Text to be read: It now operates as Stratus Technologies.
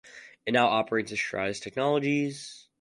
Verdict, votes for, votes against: accepted, 4, 0